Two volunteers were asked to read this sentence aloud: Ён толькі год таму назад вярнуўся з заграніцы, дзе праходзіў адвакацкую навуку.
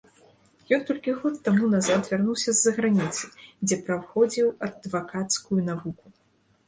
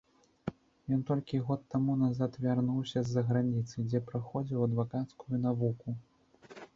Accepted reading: second